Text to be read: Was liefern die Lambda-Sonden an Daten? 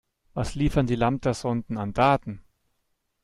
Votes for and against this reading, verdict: 2, 0, accepted